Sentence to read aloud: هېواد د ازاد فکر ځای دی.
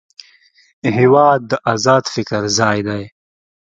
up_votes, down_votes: 2, 0